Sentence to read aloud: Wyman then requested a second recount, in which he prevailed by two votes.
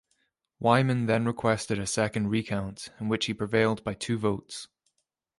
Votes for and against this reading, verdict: 2, 0, accepted